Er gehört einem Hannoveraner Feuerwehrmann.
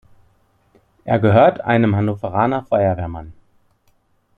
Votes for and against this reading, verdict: 2, 0, accepted